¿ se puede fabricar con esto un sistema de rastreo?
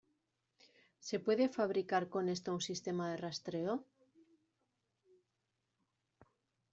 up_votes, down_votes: 2, 0